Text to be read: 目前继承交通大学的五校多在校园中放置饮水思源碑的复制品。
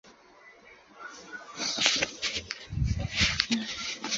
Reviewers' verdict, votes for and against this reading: rejected, 0, 2